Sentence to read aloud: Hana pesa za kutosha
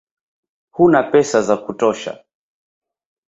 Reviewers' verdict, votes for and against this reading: rejected, 0, 2